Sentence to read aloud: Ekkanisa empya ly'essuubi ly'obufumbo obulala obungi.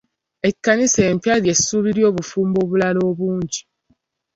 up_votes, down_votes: 2, 0